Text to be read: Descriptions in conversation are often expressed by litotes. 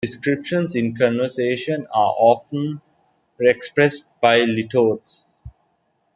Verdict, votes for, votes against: accepted, 2, 1